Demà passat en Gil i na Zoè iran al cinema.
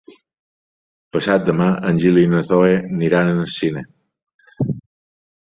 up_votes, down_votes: 1, 2